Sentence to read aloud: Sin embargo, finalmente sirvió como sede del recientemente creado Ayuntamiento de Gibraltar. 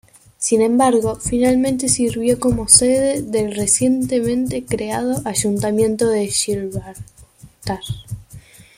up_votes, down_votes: 1, 2